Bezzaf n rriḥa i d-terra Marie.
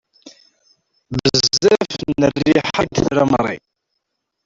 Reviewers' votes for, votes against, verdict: 0, 2, rejected